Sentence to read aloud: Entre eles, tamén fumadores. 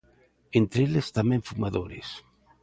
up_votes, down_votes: 2, 0